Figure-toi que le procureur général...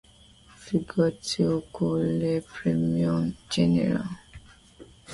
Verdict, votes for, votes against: rejected, 0, 2